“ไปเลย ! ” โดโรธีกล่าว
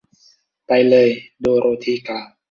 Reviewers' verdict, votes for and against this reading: accepted, 2, 0